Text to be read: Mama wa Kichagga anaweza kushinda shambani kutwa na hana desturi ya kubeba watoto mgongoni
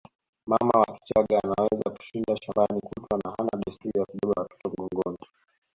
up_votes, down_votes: 2, 0